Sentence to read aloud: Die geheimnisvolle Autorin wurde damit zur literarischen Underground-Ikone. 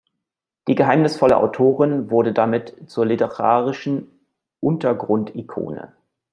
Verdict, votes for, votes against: rejected, 0, 2